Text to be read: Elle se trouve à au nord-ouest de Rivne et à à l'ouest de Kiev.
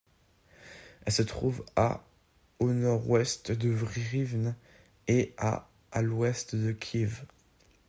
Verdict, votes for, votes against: rejected, 1, 2